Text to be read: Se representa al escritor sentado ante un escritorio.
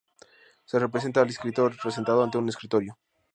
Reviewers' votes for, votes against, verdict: 0, 2, rejected